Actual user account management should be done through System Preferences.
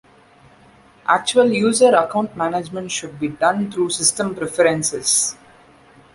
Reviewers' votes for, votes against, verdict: 2, 0, accepted